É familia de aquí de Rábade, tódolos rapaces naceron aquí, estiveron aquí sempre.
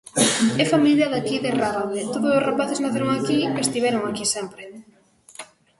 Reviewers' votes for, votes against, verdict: 0, 2, rejected